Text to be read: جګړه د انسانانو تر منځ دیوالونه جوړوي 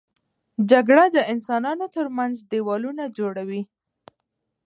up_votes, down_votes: 2, 0